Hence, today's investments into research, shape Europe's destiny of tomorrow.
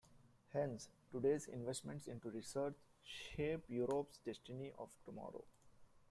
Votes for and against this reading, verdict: 0, 2, rejected